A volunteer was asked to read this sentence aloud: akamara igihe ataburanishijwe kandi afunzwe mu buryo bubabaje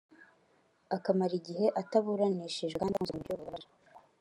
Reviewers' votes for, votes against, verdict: 0, 2, rejected